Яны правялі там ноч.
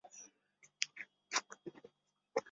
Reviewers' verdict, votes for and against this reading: rejected, 0, 2